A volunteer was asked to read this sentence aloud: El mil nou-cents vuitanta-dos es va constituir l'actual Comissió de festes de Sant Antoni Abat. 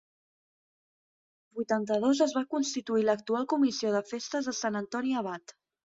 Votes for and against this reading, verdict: 2, 4, rejected